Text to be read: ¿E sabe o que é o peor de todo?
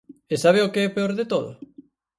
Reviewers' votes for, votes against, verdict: 2, 4, rejected